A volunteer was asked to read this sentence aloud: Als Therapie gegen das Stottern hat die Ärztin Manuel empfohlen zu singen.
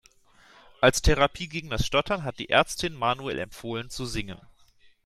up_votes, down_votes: 2, 0